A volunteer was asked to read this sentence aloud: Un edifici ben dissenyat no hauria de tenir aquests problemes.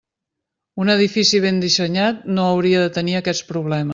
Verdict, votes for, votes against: rejected, 1, 2